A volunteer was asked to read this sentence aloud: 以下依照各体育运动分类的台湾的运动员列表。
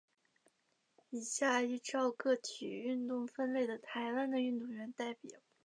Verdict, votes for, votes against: rejected, 0, 4